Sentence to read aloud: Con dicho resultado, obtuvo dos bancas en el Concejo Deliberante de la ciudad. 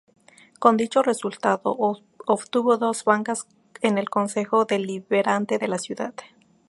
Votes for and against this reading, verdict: 2, 0, accepted